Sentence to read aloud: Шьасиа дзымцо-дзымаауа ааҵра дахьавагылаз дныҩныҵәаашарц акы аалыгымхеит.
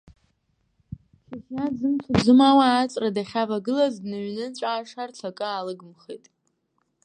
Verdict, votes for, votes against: rejected, 0, 2